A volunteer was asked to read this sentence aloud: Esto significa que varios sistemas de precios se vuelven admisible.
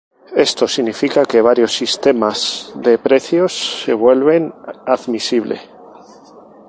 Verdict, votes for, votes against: accepted, 2, 0